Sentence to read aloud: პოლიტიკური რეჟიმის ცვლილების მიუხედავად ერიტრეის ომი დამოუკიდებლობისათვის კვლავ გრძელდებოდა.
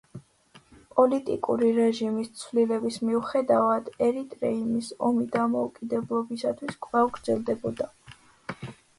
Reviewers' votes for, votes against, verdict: 1, 2, rejected